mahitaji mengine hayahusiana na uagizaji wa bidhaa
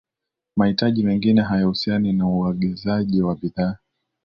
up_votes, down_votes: 3, 0